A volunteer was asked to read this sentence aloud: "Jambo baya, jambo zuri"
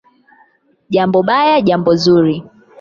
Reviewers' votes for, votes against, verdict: 8, 0, accepted